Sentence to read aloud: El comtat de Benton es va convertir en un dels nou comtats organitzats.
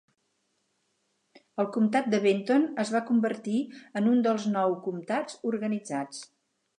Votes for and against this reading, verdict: 6, 0, accepted